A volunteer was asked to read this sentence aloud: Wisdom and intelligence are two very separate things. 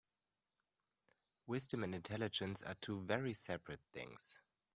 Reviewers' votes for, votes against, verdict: 2, 0, accepted